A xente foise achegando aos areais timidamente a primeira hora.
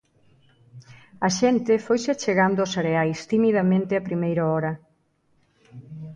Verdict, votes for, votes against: rejected, 1, 2